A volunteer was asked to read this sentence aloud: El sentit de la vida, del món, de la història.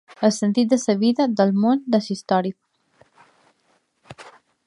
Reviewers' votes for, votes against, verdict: 1, 2, rejected